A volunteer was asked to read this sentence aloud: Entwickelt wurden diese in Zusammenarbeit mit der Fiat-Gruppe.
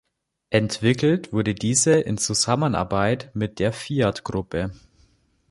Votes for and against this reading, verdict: 1, 2, rejected